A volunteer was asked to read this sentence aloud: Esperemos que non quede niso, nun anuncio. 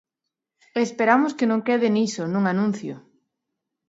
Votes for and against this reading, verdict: 1, 2, rejected